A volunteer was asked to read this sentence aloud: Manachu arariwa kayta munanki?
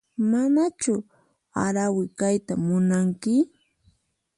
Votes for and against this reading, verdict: 2, 4, rejected